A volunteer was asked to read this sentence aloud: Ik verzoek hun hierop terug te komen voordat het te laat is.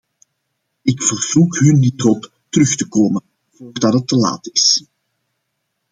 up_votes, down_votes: 0, 2